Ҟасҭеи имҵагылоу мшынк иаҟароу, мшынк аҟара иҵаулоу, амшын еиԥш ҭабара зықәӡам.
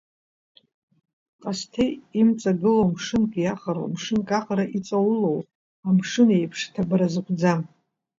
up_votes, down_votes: 2, 1